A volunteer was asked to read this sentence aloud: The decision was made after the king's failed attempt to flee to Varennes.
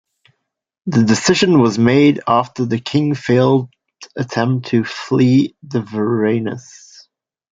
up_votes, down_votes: 0, 2